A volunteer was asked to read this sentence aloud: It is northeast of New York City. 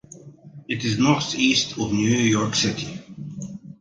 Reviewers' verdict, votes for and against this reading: rejected, 0, 3